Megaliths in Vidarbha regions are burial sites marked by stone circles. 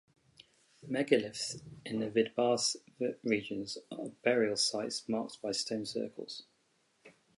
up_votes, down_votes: 2, 2